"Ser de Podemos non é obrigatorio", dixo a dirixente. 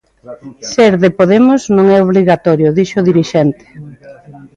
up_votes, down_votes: 0, 2